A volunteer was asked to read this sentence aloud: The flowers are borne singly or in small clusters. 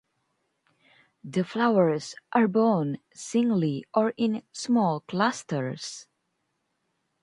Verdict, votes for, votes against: rejected, 0, 2